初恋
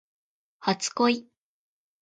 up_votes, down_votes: 2, 0